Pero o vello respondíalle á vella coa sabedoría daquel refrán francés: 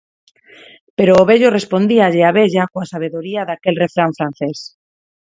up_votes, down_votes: 4, 0